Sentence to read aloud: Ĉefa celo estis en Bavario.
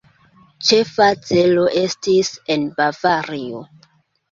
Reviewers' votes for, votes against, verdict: 2, 1, accepted